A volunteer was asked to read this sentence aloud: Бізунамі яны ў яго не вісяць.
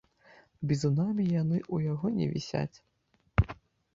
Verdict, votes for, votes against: rejected, 1, 2